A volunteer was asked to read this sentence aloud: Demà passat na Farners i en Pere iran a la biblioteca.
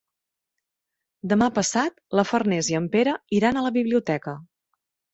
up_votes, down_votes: 1, 2